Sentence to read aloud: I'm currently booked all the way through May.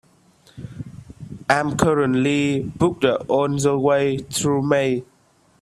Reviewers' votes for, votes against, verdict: 2, 1, accepted